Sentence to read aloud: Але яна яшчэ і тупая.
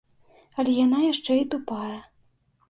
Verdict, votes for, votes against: accepted, 2, 0